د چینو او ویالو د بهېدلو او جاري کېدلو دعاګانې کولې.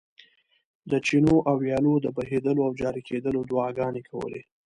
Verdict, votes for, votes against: rejected, 1, 2